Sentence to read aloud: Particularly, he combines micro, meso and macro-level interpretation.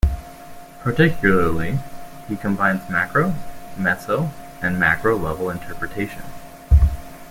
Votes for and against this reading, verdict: 0, 2, rejected